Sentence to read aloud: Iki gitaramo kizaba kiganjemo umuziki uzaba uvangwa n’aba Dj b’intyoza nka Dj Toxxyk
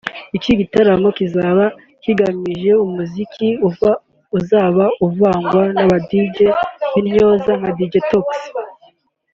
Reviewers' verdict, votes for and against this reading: rejected, 0, 3